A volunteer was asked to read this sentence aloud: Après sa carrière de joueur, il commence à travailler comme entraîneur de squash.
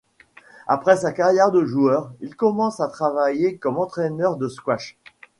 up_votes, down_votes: 2, 1